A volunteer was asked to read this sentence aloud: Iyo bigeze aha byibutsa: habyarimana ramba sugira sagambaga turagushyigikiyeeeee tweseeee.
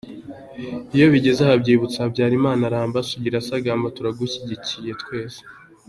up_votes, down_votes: 2, 1